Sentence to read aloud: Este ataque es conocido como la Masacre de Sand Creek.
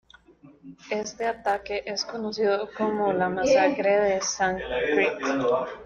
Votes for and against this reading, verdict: 1, 2, rejected